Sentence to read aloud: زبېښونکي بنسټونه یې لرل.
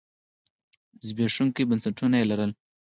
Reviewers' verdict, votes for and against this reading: accepted, 4, 0